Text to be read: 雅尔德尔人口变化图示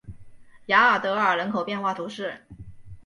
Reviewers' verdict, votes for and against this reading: accepted, 3, 0